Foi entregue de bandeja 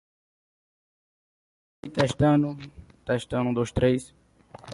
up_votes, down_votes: 0, 2